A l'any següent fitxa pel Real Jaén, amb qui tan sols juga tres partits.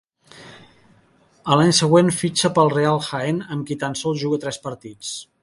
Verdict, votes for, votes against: accepted, 4, 0